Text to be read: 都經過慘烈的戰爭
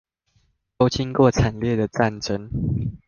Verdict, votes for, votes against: accepted, 2, 0